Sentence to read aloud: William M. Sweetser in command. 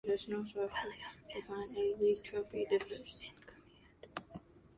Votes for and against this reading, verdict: 1, 2, rejected